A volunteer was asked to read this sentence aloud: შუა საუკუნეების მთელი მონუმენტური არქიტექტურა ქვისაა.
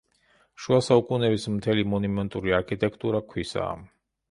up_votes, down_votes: 1, 2